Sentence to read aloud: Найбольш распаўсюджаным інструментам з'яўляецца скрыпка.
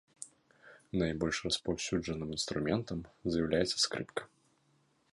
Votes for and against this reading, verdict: 0, 2, rejected